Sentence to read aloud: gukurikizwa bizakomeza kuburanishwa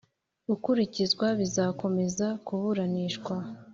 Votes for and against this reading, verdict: 2, 0, accepted